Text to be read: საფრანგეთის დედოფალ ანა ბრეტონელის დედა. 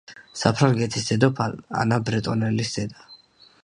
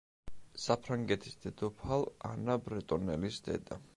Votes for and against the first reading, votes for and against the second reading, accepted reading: 0, 2, 2, 0, second